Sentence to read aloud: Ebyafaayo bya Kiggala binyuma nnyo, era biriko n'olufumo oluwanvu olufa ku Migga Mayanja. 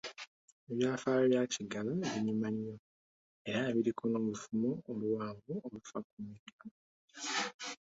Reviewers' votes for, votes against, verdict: 1, 2, rejected